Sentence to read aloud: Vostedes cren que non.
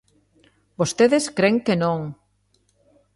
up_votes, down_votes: 2, 0